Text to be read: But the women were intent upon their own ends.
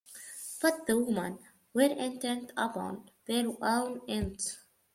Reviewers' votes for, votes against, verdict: 1, 2, rejected